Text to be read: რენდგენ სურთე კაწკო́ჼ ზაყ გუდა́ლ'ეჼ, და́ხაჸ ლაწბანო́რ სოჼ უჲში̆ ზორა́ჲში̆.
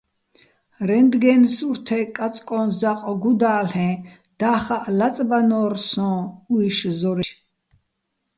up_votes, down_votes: 0, 2